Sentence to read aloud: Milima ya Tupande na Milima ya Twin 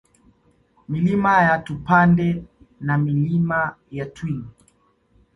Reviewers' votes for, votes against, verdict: 2, 0, accepted